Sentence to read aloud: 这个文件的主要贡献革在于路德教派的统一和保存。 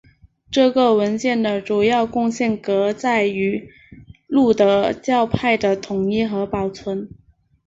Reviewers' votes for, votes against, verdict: 3, 0, accepted